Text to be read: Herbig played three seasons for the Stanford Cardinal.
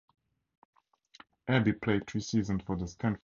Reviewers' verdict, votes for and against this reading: rejected, 0, 4